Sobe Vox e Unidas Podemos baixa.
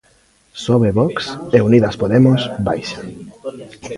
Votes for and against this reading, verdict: 2, 0, accepted